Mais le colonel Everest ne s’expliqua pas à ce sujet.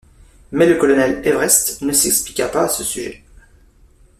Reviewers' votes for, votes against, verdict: 2, 3, rejected